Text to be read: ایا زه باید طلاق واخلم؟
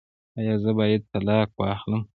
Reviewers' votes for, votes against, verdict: 2, 1, accepted